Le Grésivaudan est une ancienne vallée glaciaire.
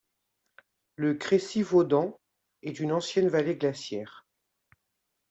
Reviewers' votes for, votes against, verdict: 1, 2, rejected